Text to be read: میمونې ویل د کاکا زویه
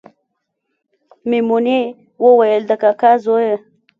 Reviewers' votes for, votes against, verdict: 0, 2, rejected